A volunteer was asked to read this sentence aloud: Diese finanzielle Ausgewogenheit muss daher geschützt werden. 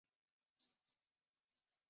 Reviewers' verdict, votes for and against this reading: rejected, 0, 2